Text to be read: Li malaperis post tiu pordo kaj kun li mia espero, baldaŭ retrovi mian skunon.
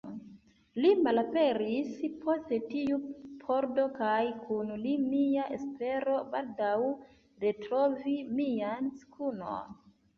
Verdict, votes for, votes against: accepted, 2, 0